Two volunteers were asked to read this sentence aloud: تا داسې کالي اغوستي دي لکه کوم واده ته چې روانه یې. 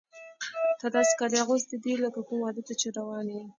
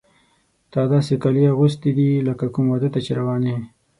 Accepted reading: second